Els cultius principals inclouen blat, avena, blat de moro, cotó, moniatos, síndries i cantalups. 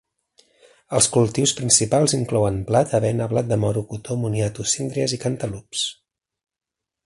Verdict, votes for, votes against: accepted, 2, 0